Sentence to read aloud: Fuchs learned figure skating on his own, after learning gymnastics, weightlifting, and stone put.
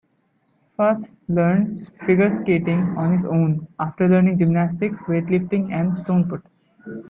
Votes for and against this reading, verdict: 1, 2, rejected